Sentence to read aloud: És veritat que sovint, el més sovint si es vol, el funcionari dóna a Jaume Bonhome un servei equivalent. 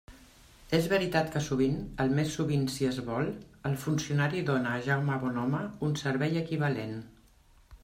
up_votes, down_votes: 1, 2